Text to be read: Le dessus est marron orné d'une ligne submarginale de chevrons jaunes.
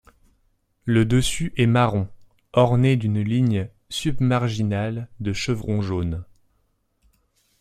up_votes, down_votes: 2, 0